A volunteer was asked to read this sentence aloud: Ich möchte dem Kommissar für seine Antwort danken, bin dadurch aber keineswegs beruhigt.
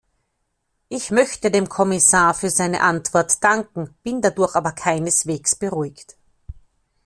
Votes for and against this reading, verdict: 2, 0, accepted